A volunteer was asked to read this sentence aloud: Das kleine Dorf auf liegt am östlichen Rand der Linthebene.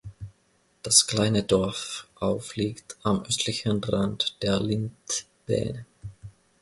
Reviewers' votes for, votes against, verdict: 0, 3, rejected